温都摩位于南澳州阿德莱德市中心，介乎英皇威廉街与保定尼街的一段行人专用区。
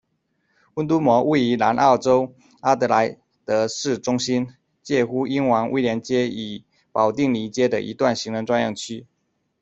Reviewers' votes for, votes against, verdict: 0, 2, rejected